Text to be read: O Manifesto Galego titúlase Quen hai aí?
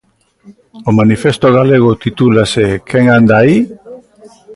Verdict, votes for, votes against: rejected, 0, 2